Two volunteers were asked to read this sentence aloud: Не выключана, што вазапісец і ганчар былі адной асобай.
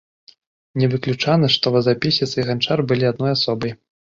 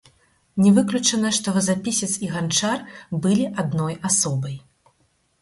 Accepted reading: first